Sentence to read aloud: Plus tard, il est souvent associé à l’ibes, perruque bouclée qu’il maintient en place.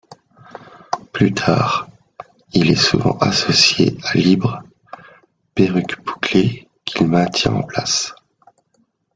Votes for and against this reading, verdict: 1, 3, rejected